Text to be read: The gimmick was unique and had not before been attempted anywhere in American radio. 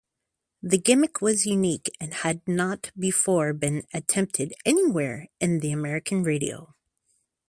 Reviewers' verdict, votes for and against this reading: rejected, 0, 2